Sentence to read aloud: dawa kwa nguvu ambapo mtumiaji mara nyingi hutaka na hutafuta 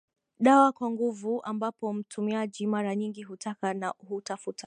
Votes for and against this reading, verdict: 0, 2, rejected